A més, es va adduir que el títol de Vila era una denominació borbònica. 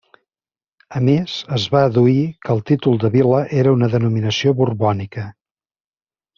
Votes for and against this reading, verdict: 2, 0, accepted